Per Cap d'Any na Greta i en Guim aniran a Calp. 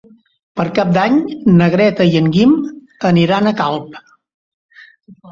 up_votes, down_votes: 3, 0